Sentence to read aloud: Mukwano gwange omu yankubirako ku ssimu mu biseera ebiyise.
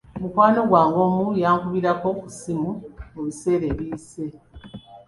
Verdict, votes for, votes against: accepted, 2, 1